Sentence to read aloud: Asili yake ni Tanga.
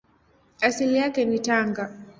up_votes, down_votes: 2, 0